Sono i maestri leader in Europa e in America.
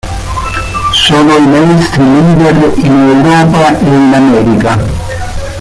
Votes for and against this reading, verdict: 1, 2, rejected